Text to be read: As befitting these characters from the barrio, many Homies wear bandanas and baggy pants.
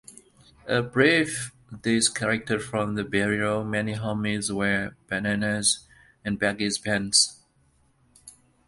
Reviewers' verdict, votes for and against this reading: rejected, 0, 2